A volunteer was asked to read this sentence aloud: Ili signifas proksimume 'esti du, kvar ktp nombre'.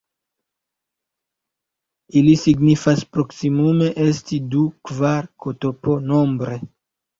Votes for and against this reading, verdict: 1, 2, rejected